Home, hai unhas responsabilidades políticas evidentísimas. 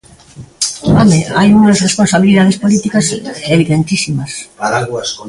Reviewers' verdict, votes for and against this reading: rejected, 0, 2